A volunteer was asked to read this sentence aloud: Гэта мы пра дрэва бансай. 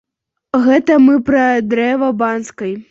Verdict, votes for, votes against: rejected, 0, 2